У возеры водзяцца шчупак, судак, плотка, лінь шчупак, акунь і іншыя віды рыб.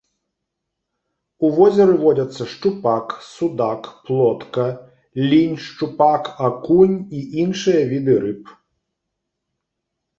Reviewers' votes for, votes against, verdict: 3, 0, accepted